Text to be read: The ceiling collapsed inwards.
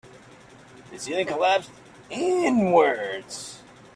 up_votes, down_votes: 2, 3